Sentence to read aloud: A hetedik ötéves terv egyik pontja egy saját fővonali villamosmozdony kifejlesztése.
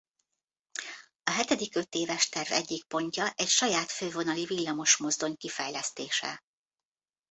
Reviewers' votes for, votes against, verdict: 2, 0, accepted